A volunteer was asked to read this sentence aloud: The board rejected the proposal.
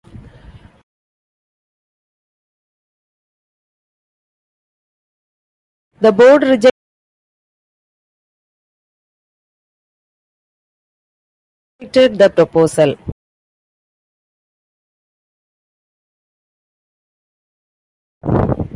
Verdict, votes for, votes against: rejected, 0, 2